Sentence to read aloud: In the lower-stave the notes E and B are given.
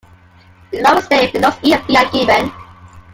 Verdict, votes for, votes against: rejected, 0, 2